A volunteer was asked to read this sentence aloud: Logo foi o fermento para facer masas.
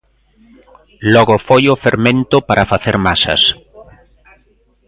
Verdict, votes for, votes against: accepted, 2, 0